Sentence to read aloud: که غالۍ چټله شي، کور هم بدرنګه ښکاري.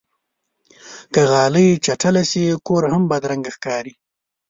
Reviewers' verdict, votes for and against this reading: accepted, 3, 0